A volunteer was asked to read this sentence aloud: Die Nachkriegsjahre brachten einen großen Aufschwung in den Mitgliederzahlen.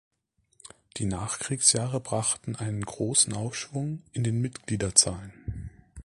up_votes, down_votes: 2, 0